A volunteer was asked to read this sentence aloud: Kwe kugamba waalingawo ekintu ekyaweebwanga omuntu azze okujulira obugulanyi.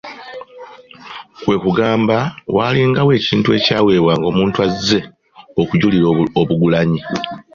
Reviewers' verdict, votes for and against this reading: accepted, 2, 0